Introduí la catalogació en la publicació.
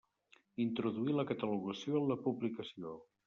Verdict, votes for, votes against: rejected, 1, 2